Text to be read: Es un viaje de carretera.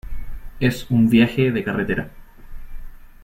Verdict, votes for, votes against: rejected, 1, 2